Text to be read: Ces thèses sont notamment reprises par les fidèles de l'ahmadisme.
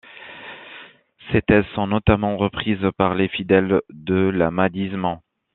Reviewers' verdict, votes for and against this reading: accepted, 2, 0